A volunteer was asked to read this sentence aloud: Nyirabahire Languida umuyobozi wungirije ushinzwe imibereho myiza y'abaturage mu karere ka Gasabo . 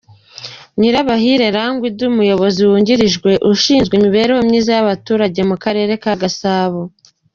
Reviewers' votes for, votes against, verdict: 2, 0, accepted